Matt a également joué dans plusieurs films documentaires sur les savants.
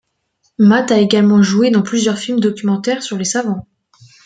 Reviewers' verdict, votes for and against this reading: accepted, 2, 0